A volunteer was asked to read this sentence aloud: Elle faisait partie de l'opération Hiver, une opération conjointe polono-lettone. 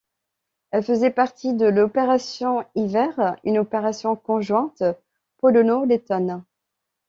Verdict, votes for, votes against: accepted, 2, 0